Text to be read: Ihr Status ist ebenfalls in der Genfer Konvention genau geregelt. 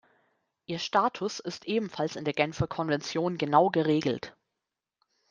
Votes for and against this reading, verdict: 2, 0, accepted